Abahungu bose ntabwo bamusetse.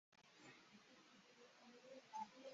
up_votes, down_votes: 1, 2